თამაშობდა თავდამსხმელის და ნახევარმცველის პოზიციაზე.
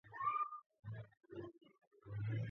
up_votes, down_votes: 0, 2